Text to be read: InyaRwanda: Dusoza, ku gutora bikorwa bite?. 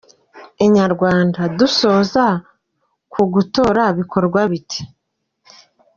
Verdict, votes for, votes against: accepted, 2, 0